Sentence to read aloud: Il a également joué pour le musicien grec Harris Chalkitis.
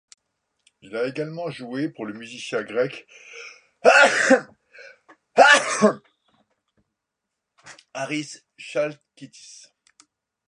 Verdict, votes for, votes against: rejected, 0, 2